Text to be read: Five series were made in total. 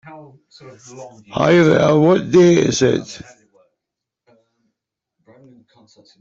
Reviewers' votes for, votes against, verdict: 0, 2, rejected